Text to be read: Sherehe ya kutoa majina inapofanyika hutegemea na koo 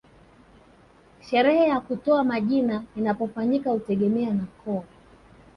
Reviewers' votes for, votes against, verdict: 2, 1, accepted